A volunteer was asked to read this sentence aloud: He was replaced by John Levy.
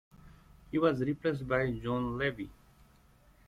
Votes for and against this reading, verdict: 2, 0, accepted